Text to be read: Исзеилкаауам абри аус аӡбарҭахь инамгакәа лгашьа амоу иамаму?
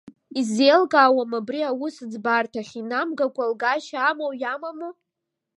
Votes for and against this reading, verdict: 3, 0, accepted